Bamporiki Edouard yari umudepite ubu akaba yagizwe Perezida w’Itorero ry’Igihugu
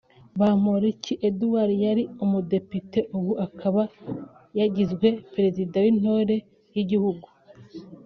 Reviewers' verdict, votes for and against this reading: rejected, 1, 2